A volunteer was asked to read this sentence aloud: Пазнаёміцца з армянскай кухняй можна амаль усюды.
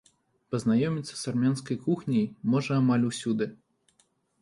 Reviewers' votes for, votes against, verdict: 1, 2, rejected